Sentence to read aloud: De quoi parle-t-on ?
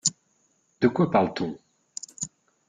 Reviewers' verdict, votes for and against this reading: accepted, 2, 0